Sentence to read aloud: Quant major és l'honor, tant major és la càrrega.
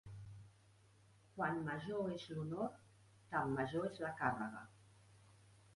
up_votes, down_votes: 1, 2